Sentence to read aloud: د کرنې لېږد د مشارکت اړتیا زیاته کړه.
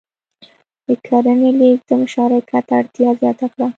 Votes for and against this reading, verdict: 2, 0, accepted